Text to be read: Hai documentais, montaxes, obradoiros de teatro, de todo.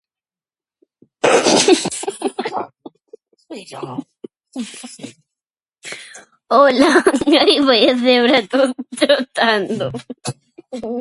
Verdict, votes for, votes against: rejected, 0, 2